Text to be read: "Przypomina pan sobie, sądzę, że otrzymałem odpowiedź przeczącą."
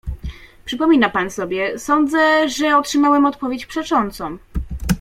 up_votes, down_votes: 2, 0